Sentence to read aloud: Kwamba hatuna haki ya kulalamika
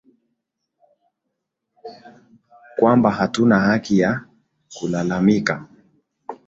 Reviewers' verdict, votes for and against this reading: rejected, 0, 2